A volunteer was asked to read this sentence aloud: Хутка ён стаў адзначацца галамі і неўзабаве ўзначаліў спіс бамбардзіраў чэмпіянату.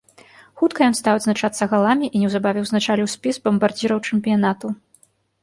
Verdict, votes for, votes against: accepted, 2, 0